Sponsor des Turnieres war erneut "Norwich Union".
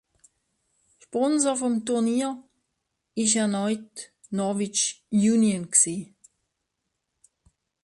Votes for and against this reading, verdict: 0, 2, rejected